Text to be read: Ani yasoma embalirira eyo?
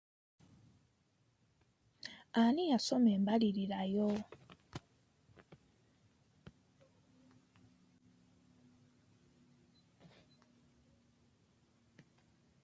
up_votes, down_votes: 1, 2